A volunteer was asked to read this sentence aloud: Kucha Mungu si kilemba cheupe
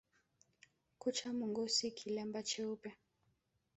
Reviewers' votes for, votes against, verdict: 0, 2, rejected